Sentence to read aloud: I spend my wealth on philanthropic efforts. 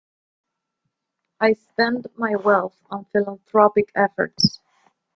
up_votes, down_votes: 2, 0